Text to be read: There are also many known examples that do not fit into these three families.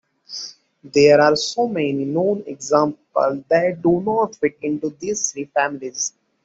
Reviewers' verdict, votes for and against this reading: rejected, 0, 2